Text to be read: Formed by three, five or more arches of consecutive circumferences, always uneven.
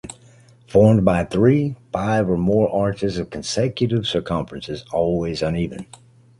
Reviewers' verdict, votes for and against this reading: accepted, 2, 0